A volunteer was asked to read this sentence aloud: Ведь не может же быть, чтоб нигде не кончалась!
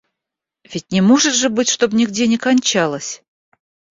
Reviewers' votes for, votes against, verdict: 2, 0, accepted